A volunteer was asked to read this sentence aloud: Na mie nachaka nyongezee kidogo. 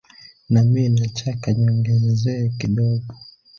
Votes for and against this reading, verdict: 0, 2, rejected